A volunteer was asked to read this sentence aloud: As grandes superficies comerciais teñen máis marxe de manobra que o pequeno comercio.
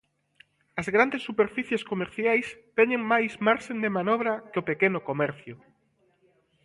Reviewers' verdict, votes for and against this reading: rejected, 0, 2